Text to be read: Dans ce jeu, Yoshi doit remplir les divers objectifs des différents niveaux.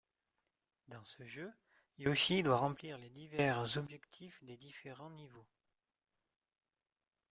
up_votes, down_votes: 0, 2